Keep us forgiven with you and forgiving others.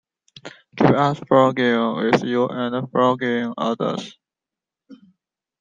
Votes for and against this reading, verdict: 0, 2, rejected